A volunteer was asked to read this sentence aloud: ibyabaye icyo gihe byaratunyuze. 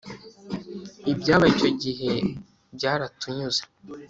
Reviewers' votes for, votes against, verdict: 3, 0, accepted